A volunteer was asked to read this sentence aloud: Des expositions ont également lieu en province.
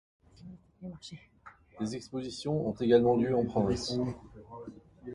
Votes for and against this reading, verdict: 1, 2, rejected